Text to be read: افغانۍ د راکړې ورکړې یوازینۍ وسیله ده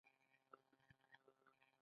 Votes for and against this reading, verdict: 2, 1, accepted